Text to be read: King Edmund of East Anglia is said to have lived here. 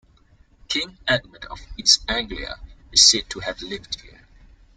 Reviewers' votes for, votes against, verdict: 2, 0, accepted